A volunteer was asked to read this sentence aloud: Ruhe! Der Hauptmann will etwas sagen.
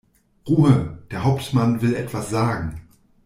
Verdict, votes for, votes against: accepted, 2, 0